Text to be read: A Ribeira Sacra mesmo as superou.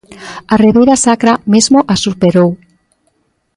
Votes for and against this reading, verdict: 2, 0, accepted